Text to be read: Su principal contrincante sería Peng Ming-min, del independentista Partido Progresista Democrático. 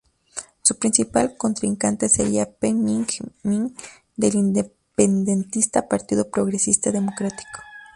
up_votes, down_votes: 2, 0